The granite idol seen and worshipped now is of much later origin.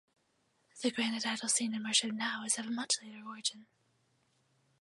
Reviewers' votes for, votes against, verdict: 2, 2, rejected